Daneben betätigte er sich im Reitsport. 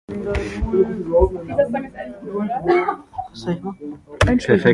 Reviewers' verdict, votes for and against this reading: rejected, 0, 2